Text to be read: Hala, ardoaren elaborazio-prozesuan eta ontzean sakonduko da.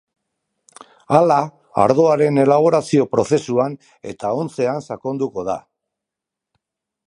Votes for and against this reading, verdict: 2, 0, accepted